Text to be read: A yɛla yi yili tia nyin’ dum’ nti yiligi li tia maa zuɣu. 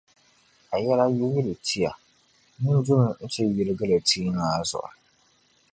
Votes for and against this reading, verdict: 1, 2, rejected